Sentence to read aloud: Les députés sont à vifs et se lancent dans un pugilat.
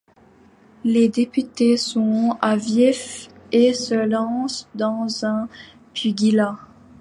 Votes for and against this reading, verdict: 0, 2, rejected